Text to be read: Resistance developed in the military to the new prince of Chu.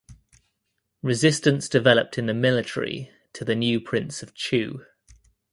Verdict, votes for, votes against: accepted, 2, 0